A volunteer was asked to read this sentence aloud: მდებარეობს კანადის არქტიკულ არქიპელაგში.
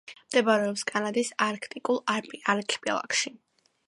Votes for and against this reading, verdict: 2, 1, accepted